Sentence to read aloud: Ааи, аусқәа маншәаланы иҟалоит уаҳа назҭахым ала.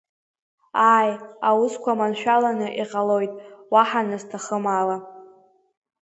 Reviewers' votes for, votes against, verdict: 2, 0, accepted